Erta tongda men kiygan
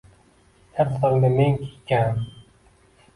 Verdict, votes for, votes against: rejected, 0, 2